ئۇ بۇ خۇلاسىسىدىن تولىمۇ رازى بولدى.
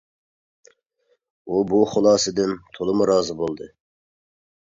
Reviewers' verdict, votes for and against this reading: rejected, 0, 2